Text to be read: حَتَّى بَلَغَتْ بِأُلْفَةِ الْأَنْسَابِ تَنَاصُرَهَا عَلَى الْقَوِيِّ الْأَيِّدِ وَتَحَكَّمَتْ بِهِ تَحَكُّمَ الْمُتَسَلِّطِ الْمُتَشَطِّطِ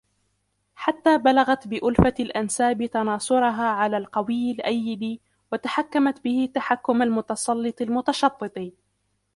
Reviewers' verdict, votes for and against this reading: rejected, 0, 2